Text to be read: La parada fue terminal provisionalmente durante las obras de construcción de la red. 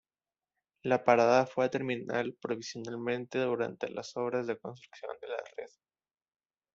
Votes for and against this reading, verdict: 0, 2, rejected